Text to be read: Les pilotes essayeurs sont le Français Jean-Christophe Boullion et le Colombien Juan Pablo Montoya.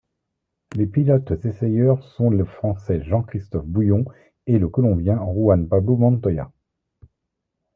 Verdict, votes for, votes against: accepted, 2, 0